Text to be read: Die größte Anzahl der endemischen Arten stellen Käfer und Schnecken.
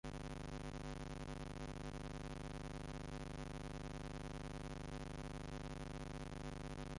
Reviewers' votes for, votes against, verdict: 0, 2, rejected